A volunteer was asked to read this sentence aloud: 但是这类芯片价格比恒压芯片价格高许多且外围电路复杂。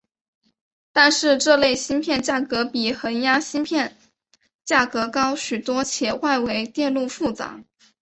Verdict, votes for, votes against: accepted, 2, 0